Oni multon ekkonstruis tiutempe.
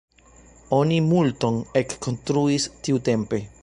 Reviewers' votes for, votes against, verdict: 1, 2, rejected